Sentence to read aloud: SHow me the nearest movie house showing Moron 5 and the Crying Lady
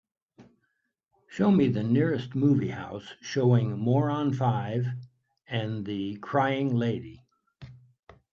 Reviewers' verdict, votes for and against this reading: rejected, 0, 2